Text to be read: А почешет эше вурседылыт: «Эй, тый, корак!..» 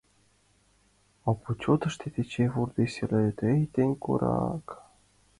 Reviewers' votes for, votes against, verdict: 0, 2, rejected